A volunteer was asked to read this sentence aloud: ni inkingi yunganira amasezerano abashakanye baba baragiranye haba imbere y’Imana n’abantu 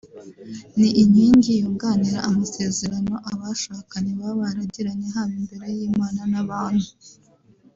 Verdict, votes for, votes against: rejected, 1, 2